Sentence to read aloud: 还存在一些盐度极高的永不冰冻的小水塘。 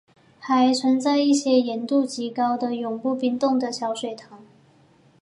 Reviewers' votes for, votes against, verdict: 3, 0, accepted